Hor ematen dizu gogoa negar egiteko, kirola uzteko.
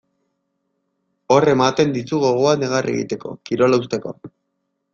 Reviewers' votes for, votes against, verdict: 1, 2, rejected